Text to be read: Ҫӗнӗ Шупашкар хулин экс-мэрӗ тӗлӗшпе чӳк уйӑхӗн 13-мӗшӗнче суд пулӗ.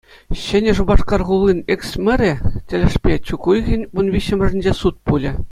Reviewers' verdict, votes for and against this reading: rejected, 0, 2